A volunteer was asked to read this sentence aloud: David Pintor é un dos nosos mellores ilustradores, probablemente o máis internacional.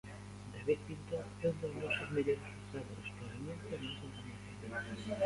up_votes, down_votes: 0, 2